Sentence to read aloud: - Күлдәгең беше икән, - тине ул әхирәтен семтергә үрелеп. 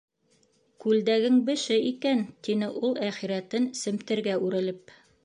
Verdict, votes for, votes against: accepted, 2, 0